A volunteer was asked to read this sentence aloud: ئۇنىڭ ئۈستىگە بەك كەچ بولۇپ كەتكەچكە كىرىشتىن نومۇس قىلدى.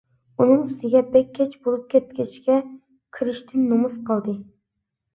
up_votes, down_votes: 2, 0